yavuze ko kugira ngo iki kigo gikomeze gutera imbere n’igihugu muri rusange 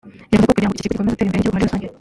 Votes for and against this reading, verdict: 0, 2, rejected